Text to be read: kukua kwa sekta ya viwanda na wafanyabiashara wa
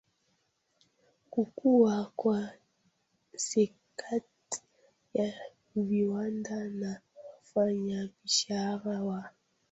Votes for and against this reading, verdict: 0, 2, rejected